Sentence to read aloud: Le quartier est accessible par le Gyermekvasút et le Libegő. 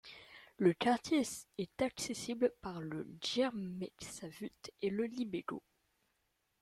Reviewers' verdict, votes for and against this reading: rejected, 1, 2